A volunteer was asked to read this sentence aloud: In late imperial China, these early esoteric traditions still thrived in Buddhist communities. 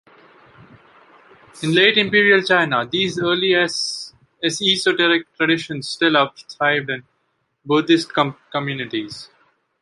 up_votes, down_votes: 2, 1